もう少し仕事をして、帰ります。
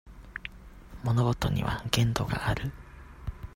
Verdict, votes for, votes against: rejected, 0, 2